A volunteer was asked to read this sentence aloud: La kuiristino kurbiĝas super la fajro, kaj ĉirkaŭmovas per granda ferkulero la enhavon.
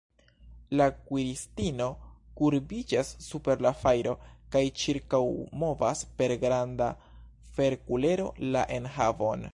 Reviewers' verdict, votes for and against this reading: accepted, 3, 0